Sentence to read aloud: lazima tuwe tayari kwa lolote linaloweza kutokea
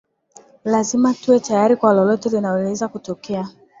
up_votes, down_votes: 2, 0